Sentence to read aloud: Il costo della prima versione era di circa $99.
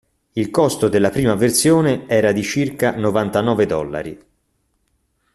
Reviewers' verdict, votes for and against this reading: rejected, 0, 2